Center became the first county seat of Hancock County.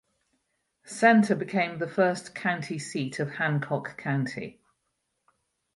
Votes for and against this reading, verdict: 6, 0, accepted